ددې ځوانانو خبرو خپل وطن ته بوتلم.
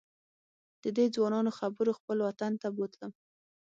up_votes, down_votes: 6, 0